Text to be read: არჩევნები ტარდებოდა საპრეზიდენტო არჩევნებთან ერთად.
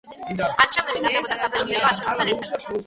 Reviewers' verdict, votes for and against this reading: rejected, 1, 2